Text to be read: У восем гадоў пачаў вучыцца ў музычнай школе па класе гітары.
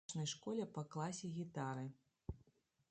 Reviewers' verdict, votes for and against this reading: rejected, 0, 2